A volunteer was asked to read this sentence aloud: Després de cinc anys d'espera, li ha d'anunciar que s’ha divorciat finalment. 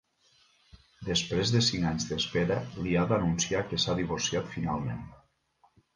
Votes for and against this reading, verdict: 1, 2, rejected